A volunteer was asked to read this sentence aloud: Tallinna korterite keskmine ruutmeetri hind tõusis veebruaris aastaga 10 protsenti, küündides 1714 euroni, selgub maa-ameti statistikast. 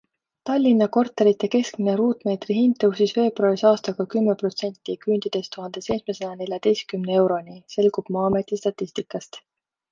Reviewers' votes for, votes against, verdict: 0, 2, rejected